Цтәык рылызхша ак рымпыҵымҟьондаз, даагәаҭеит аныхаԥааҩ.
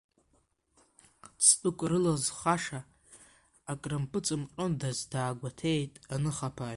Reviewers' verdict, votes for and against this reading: rejected, 0, 2